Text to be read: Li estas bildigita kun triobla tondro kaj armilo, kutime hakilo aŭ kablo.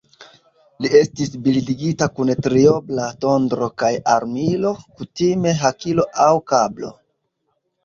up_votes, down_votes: 1, 2